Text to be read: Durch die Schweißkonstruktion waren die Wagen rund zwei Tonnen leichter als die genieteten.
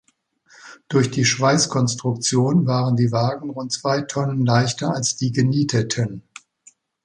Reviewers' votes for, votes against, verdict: 2, 0, accepted